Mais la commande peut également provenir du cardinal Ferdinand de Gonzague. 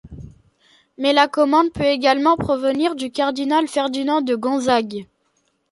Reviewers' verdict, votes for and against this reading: accepted, 2, 0